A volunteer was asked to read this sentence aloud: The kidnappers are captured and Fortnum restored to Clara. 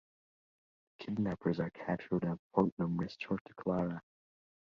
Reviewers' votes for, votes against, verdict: 2, 1, accepted